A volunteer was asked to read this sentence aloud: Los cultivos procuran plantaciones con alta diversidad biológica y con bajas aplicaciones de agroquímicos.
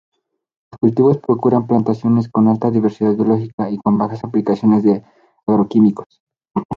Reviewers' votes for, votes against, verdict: 4, 2, accepted